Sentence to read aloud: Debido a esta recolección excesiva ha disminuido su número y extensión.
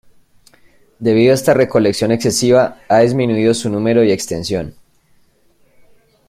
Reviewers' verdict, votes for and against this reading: accepted, 2, 0